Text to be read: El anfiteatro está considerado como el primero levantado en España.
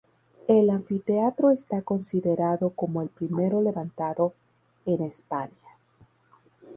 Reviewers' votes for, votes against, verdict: 0, 2, rejected